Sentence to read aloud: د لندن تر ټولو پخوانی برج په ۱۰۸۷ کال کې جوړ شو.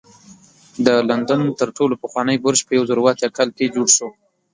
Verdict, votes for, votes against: rejected, 0, 2